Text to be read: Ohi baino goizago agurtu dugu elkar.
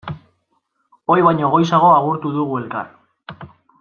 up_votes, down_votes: 2, 0